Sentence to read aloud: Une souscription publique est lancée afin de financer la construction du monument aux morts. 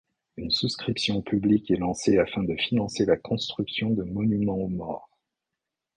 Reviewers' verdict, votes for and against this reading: rejected, 1, 2